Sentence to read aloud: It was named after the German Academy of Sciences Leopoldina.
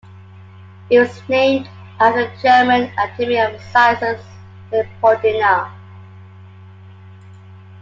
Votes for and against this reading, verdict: 2, 0, accepted